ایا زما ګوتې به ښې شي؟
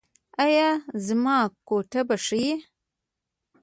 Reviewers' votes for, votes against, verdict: 0, 2, rejected